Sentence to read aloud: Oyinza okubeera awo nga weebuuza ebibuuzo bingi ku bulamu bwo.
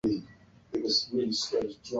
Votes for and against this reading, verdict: 0, 2, rejected